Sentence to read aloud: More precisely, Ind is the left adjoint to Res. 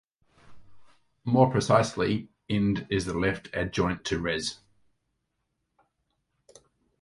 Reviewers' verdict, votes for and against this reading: accepted, 2, 0